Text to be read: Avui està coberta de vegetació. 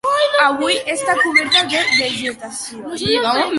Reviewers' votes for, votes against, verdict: 0, 2, rejected